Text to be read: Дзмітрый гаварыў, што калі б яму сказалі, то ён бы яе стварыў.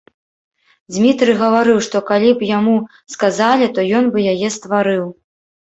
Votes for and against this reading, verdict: 0, 2, rejected